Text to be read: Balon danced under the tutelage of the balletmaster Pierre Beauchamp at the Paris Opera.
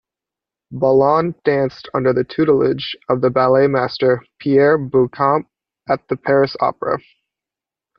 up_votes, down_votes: 2, 0